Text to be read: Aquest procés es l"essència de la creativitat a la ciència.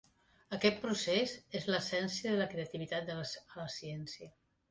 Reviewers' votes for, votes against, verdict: 0, 2, rejected